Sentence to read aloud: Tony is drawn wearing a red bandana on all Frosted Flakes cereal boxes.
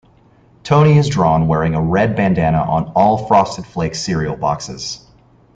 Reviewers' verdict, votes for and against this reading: accepted, 2, 0